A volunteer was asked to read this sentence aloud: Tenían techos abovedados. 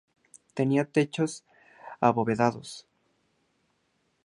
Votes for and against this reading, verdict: 2, 0, accepted